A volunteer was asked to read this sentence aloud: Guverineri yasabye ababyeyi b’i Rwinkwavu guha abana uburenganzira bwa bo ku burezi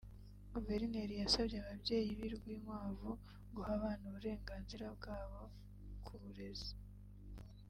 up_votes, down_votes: 2, 1